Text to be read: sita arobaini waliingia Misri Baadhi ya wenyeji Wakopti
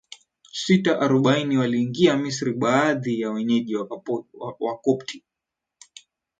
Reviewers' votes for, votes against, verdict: 0, 2, rejected